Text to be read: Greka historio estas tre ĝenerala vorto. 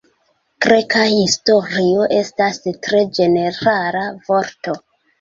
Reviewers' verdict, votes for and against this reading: rejected, 0, 2